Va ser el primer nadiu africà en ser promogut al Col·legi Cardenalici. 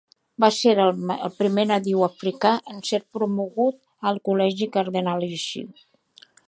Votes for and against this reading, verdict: 2, 1, accepted